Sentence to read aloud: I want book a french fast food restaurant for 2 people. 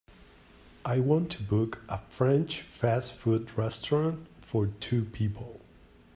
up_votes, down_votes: 0, 2